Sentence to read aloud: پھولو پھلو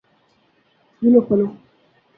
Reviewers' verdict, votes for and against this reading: rejected, 0, 2